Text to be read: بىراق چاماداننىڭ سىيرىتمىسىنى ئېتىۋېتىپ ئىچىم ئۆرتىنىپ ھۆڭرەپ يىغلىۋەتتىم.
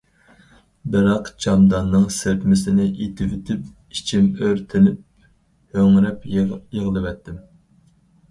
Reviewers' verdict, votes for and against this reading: rejected, 2, 4